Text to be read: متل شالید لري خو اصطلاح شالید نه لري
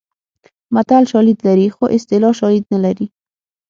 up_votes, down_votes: 6, 0